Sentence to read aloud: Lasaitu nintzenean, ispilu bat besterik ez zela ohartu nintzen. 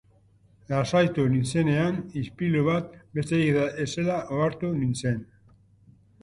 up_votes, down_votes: 2, 1